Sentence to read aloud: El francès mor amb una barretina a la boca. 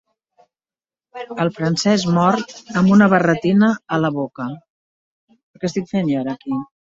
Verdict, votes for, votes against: rejected, 0, 2